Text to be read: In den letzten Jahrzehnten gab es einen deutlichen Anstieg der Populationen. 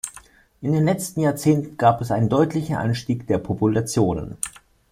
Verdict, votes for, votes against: accepted, 2, 0